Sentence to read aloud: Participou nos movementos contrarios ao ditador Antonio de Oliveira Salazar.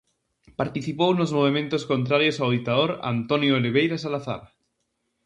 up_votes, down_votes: 2, 0